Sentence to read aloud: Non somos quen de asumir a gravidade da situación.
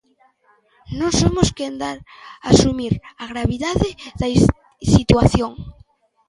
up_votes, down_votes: 0, 2